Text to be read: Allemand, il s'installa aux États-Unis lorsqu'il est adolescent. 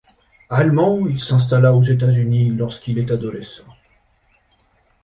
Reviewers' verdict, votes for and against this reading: rejected, 1, 2